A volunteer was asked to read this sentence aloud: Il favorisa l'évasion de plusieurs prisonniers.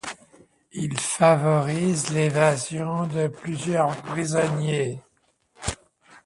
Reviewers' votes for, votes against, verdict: 0, 2, rejected